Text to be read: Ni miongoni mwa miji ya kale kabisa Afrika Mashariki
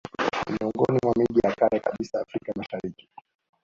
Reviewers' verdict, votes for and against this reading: rejected, 1, 2